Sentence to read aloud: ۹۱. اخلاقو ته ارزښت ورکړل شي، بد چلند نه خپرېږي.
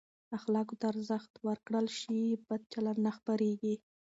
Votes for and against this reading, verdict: 0, 2, rejected